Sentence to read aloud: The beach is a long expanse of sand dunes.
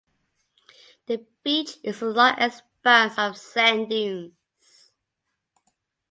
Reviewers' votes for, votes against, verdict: 0, 2, rejected